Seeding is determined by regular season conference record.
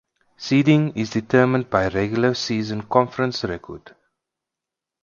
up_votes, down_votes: 4, 2